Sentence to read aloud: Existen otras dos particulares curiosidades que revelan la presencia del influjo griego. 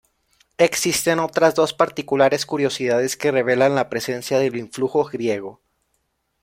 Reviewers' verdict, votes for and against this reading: rejected, 1, 2